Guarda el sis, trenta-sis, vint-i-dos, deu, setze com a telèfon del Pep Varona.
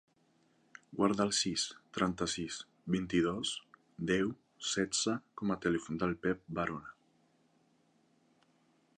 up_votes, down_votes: 2, 0